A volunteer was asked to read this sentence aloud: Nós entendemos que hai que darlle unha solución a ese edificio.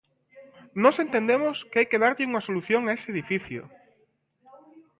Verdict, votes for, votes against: accepted, 2, 0